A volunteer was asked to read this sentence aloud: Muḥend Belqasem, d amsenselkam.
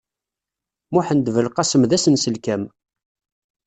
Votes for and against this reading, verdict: 1, 2, rejected